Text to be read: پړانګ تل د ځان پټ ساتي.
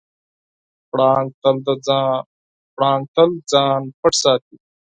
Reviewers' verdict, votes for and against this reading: accepted, 4, 0